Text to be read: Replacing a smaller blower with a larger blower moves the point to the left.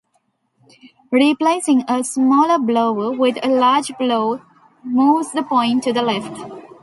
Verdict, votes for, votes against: rejected, 0, 2